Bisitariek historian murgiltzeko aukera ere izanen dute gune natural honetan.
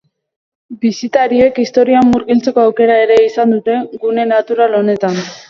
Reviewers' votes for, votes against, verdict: 1, 3, rejected